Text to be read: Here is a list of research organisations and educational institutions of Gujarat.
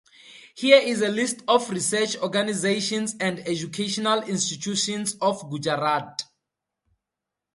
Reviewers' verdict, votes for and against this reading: accepted, 4, 0